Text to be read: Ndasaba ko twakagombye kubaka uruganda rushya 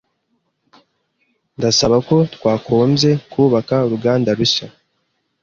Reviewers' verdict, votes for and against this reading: rejected, 1, 2